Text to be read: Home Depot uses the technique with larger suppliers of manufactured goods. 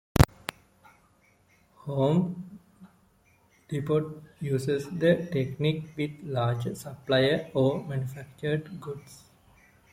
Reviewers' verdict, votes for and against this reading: accepted, 2, 0